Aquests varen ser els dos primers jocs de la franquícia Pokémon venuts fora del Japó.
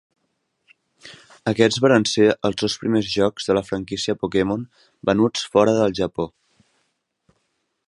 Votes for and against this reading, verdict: 2, 0, accepted